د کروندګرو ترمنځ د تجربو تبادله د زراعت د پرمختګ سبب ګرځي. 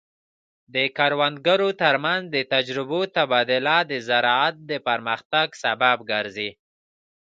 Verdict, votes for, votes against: accepted, 2, 0